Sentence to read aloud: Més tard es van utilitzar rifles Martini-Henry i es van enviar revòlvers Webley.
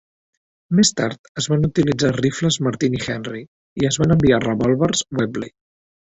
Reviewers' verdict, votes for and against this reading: accepted, 2, 1